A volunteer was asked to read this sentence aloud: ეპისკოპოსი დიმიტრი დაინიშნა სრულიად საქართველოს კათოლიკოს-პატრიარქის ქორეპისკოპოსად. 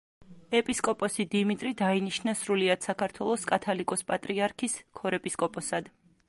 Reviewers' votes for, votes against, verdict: 2, 0, accepted